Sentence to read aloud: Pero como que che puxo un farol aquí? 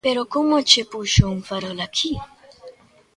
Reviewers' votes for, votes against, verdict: 2, 0, accepted